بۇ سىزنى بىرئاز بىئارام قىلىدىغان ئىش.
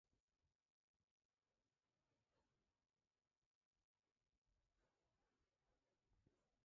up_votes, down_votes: 0, 2